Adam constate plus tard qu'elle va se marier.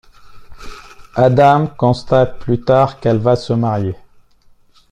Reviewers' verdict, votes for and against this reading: accepted, 2, 0